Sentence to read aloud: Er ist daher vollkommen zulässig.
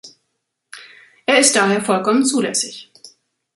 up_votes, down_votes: 2, 0